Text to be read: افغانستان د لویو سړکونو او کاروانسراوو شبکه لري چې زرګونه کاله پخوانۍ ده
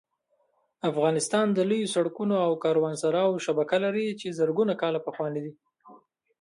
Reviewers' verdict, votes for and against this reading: rejected, 0, 2